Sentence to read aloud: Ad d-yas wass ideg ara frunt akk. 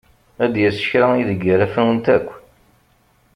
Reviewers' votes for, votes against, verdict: 1, 2, rejected